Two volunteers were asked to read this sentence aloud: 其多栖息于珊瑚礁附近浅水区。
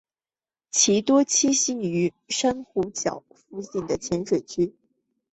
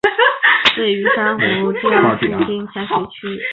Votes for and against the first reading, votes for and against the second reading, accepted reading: 4, 0, 1, 4, first